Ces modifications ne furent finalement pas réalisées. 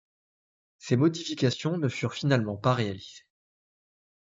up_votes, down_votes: 1, 2